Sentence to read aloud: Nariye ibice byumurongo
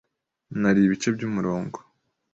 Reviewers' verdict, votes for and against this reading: accepted, 2, 0